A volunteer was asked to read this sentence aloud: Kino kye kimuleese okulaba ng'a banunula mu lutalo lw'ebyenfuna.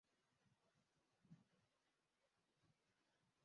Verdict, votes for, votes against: rejected, 0, 2